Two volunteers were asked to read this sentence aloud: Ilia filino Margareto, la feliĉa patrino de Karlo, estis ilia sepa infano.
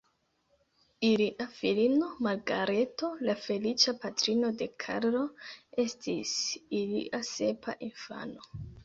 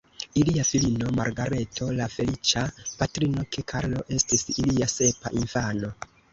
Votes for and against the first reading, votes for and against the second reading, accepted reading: 2, 0, 1, 2, first